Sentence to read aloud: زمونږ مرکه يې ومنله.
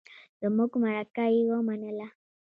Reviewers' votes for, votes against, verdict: 2, 0, accepted